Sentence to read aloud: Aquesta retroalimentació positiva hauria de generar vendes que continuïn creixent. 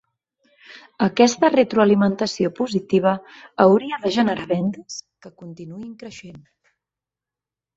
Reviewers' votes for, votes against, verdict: 2, 4, rejected